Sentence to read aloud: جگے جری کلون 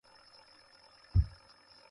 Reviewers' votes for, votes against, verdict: 0, 2, rejected